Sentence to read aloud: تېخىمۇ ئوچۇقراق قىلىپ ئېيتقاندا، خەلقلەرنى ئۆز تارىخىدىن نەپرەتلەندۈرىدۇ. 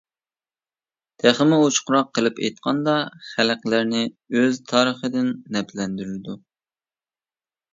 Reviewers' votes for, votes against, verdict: 0, 2, rejected